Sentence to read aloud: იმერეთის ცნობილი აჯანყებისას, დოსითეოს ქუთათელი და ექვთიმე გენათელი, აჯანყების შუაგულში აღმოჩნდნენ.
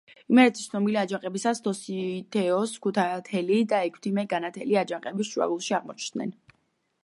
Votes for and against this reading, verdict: 1, 2, rejected